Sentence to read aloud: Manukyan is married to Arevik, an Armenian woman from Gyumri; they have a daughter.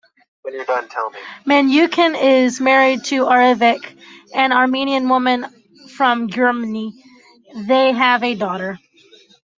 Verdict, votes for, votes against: rejected, 0, 2